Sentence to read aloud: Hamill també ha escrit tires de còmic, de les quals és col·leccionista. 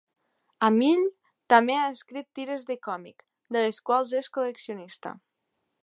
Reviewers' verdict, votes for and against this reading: accepted, 2, 0